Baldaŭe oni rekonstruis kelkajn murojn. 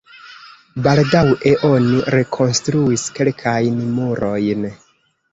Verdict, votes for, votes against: rejected, 0, 2